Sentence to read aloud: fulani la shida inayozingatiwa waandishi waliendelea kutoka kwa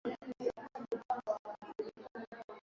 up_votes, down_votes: 0, 2